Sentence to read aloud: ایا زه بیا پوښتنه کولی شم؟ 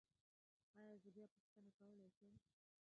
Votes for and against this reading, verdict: 0, 2, rejected